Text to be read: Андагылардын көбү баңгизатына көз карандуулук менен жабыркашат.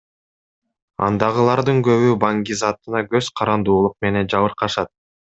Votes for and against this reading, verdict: 2, 0, accepted